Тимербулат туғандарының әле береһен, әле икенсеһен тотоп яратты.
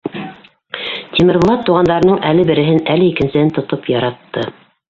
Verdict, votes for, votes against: rejected, 1, 2